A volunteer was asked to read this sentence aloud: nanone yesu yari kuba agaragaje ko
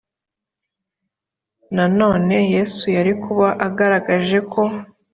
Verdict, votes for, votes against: accepted, 2, 0